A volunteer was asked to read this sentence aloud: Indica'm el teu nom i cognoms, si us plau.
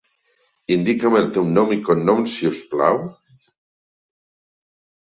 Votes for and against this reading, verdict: 2, 1, accepted